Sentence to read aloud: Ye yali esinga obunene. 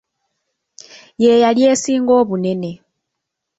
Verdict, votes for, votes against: rejected, 1, 2